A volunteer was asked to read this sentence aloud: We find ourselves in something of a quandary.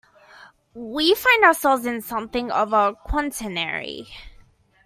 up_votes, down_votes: 0, 2